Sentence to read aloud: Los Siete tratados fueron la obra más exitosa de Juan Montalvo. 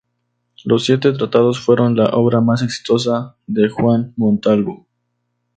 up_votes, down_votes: 2, 0